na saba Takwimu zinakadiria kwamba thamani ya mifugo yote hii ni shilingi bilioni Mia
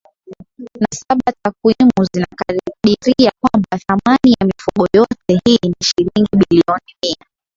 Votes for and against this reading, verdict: 2, 0, accepted